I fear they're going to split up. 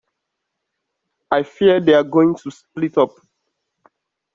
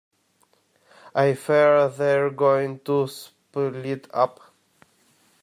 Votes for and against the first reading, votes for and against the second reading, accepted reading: 2, 0, 1, 2, first